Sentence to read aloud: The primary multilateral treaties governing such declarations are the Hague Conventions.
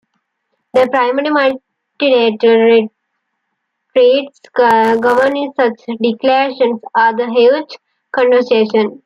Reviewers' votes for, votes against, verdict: 0, 2, rejected